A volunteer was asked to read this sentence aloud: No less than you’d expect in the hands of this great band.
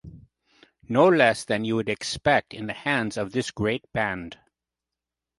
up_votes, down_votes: 2, 0